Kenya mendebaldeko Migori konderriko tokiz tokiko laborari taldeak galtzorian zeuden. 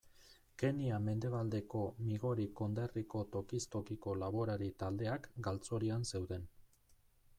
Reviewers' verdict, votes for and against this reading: accepted, 2, 0